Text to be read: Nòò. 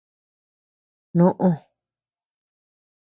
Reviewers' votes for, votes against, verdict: 0, 2, rejected